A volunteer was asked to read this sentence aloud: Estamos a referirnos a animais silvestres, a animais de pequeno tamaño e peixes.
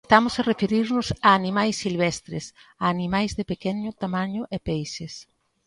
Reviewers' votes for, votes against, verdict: 2, 3, rejected